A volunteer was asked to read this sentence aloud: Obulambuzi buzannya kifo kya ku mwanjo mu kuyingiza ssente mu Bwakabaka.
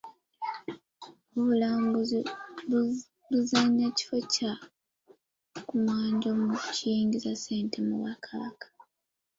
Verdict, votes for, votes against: rejected, 1, 2